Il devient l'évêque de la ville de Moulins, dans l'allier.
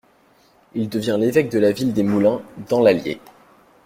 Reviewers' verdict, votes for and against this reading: rejected, 1, 2